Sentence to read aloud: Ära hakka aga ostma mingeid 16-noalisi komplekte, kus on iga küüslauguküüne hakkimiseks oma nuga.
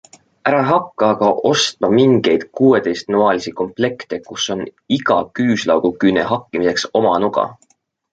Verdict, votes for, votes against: rejected, 0, 2